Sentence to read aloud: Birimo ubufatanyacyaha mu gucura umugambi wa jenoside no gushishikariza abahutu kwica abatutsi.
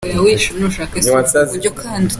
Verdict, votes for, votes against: rejected, 0, 3